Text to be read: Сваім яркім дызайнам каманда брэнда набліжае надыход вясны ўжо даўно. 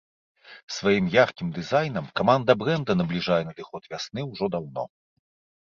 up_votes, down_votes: 2, 0